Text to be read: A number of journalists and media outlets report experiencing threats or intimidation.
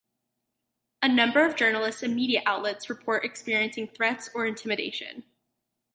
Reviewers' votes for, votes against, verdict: 4, 0, accepted